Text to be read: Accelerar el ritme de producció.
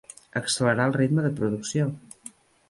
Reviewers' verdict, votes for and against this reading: accepted, 3, 0